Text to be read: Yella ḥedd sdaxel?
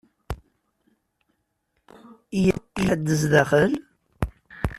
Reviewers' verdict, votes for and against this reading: rejected, 0, 2